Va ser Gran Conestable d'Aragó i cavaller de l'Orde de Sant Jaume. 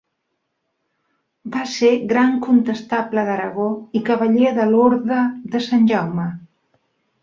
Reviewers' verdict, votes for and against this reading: rejected, 3, 4